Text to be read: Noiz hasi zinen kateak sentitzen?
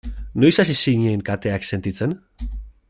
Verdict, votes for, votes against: accepted, 2, 0